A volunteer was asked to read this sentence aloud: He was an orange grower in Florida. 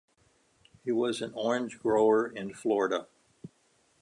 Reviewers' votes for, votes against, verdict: 2, 0, accepted